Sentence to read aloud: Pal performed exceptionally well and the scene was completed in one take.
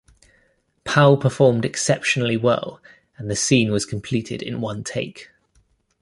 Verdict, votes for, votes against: accepted, 2, 0